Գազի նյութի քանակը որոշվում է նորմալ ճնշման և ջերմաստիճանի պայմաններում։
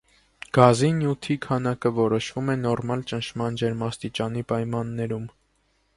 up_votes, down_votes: 1, 2